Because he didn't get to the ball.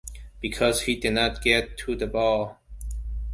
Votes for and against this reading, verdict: 2, 1, accepted